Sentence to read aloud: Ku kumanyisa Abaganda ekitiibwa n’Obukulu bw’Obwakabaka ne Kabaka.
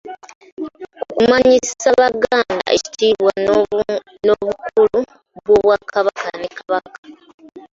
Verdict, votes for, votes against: rejected, 0, 2